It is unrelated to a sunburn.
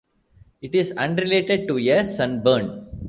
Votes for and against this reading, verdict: 0, 2, rejected